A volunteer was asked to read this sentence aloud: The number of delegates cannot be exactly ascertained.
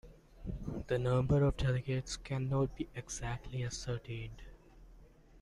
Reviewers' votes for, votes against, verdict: 0, 2, rejected